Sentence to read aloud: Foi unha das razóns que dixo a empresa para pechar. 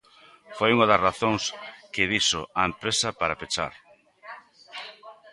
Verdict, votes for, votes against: rejected, 1, 2